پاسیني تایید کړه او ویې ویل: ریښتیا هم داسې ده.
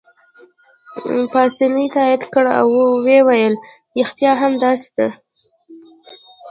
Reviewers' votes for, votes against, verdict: 0, 2, rejected